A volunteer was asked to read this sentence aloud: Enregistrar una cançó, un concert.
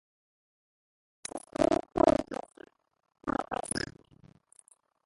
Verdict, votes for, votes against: rejected, 0, 4